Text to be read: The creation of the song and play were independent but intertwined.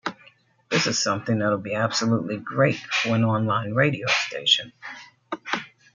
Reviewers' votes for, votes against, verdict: 0, 2, rejected